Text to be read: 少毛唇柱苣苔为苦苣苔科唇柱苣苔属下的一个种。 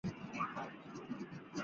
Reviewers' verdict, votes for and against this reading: rejected, 0, 2